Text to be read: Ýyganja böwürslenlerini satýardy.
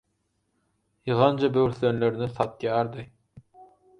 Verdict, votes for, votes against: accepted, 4, 0